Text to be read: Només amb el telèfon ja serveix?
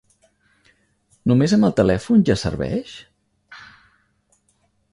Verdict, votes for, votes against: accepted, 4, 0